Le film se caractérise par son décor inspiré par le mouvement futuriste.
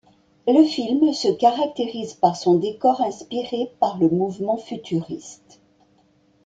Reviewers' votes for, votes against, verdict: 2, 0, accepted